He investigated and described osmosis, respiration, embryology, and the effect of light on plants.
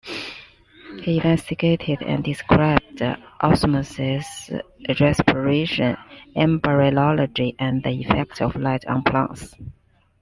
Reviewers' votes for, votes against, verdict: 2, 0, accepted